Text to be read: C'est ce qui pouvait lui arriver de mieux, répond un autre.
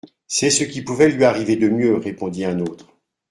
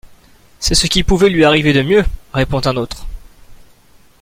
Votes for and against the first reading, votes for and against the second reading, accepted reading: 0, 2, 2, 0, second